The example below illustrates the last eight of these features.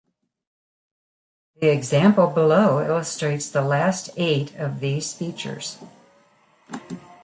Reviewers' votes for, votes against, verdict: 3, 0, accepted